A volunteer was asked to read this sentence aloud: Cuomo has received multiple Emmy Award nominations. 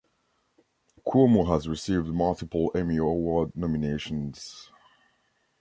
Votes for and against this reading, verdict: 2, 0, accepted